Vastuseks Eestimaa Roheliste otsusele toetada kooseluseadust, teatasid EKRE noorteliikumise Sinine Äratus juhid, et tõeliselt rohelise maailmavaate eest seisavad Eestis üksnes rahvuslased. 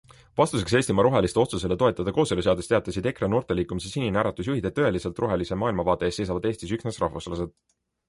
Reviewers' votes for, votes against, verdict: 2, 0, accepted